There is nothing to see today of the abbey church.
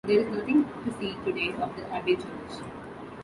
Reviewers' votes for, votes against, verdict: 1, 2, rejected